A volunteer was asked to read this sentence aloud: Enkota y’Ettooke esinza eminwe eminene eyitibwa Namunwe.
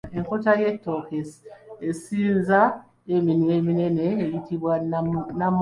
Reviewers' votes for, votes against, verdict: 2, 1, accepted